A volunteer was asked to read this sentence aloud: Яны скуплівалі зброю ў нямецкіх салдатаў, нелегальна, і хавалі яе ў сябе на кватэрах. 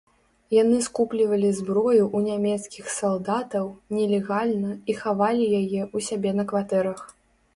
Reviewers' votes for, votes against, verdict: 2, 0, accepted